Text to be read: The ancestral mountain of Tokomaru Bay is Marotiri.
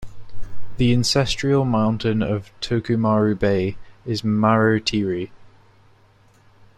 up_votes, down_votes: 2, 1